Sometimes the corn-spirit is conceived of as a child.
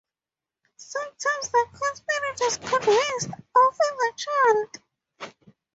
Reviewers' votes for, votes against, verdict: 0, 4, rejected